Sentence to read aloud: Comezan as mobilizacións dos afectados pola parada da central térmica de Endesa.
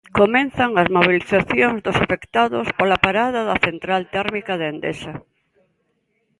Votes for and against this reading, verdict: 1, 2, rejected